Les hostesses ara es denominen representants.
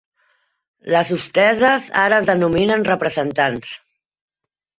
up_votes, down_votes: 3, 4